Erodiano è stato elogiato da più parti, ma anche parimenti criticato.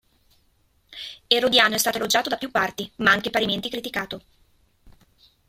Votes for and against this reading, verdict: 1, 2, rejected